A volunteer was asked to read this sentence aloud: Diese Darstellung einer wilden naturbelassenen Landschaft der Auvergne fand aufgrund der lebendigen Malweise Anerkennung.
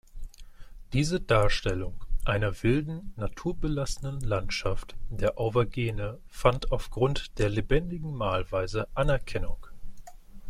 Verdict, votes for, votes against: rejected, 0, 2